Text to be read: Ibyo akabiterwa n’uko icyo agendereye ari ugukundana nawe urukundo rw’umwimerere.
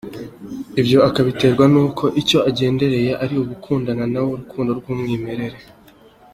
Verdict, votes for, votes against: accepted, 2, 0